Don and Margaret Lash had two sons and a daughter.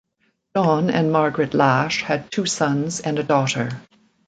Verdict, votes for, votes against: accepted, 2, 0